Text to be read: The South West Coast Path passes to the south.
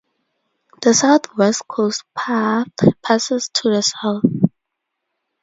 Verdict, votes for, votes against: rejected, 2, 2